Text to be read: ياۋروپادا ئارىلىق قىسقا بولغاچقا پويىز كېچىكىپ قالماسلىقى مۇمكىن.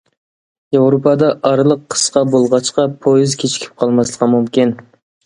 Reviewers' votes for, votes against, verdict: 2, 0, accepted